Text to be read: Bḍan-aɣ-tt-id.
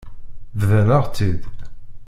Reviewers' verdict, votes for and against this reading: rejected, 0, 2